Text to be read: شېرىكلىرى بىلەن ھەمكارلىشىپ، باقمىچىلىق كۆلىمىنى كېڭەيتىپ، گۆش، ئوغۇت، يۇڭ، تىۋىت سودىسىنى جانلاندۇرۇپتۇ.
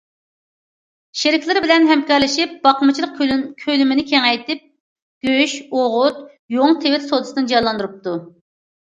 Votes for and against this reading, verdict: 1, 2, rejected